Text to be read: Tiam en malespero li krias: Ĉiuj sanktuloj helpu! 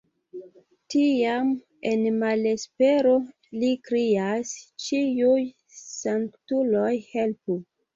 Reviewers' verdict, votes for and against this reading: rejected, 2, 2